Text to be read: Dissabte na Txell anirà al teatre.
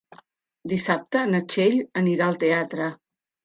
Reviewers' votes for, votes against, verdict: 3, 0, accepted